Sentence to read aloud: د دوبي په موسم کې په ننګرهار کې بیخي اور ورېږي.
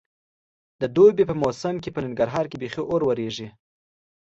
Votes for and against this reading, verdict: 2, 0, accepted